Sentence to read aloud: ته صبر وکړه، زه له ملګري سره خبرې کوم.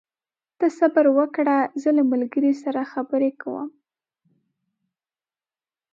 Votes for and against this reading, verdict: 4, 0, accepted